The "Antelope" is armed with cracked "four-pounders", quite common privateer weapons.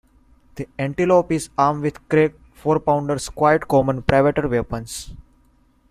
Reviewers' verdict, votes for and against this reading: accepted, 2, 0